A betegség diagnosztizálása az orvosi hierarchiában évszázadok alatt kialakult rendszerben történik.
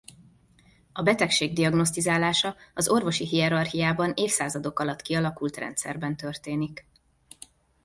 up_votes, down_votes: 2, 0